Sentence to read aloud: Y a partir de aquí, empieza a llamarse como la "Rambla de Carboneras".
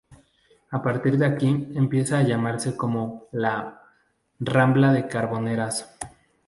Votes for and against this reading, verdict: 0, 2, rejected